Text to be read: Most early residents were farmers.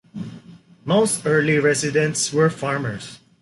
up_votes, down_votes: 3, 1